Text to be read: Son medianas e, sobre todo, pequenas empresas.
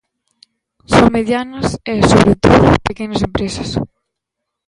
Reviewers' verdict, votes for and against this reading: rejected, 1, 2